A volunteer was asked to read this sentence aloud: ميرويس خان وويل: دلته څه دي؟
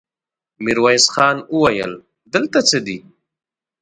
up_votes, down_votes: 2, 0